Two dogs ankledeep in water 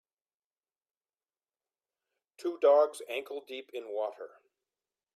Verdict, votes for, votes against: accepted, 2, 0